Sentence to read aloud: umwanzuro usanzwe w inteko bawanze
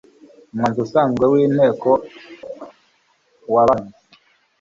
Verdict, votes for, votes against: rejected, 1, 2